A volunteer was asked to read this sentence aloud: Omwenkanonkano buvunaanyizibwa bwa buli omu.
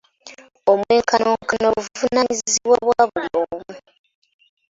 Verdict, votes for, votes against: accepted, 2, 1